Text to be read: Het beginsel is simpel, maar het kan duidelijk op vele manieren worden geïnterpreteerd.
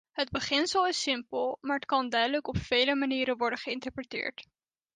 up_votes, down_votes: 2, 0